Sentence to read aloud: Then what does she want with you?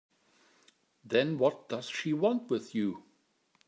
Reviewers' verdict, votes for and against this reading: accepted, 2, 1